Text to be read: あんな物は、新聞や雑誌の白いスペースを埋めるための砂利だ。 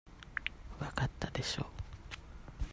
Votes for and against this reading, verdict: 0, 2, rejected